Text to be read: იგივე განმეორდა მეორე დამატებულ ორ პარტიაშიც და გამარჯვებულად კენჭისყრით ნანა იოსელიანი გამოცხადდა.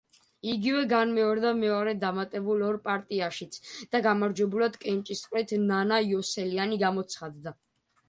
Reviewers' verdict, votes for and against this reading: accepted, 2, 0